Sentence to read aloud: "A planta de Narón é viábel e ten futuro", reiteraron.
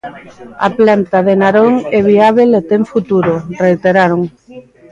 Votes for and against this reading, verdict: 2, 1, accepted